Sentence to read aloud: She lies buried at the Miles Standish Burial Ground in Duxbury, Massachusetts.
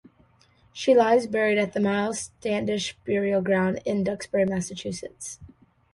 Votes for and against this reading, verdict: 2, 0, accepted